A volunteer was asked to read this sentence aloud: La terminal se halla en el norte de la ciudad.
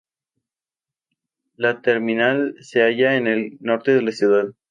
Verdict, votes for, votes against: accepted, 2, 0